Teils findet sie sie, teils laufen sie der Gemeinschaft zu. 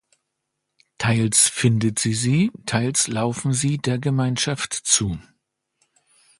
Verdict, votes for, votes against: accepted, 2, 0